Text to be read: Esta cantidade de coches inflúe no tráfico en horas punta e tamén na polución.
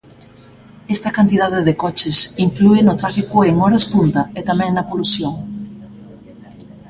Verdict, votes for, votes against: rejected, 1, 2